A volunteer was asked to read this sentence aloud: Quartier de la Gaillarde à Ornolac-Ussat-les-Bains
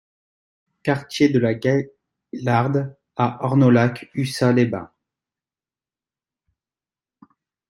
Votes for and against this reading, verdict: 0, 2, rejected